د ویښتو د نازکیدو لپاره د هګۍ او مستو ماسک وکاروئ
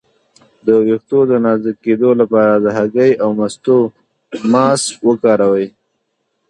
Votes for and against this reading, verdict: 1, 2, rejected